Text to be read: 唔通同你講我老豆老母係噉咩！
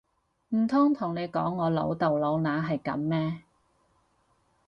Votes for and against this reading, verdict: 0, 4, rejected